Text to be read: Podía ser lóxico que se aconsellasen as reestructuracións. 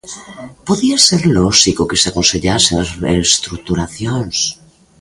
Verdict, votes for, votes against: accepted, 2, 0